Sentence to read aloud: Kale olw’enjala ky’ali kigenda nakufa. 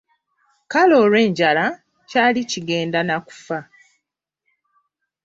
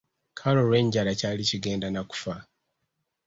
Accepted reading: second